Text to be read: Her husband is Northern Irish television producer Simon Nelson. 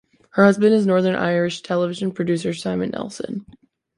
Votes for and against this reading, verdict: 2, 0, accepted